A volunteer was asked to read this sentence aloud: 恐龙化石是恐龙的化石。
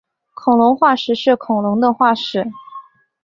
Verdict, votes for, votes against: accepted, 2, 0